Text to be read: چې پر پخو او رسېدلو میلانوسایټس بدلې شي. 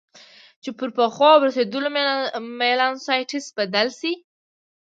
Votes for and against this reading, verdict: 2, 1, accepted